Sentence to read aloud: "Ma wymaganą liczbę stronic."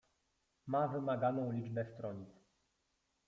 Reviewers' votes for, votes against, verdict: 2, 1, accepted